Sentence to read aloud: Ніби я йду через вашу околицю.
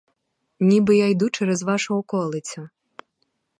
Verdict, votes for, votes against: accepted, 4, 0